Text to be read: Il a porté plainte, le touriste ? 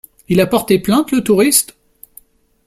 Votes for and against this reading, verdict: 2, 0, accepted